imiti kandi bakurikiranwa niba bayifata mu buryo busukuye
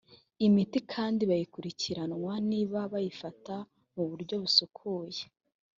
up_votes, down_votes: 1, 2